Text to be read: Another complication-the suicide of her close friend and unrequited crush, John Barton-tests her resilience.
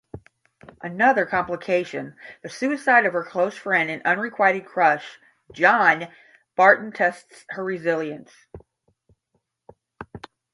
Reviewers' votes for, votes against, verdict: 10, 0, accepted